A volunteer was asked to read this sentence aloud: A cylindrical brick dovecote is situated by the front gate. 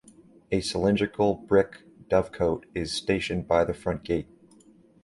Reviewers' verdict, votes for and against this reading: rejected, 0, 2